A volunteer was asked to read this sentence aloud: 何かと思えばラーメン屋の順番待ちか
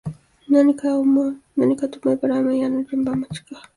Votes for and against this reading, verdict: 0, 2, rejected